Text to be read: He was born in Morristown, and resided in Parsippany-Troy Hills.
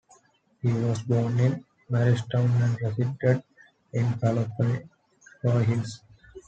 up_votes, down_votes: 0, 2